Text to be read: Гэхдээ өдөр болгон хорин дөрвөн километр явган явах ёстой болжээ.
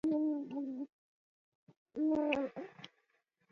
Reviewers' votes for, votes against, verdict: 0, 2, rejected